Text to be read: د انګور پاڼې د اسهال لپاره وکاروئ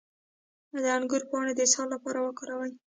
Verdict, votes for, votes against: rejected, 1, 2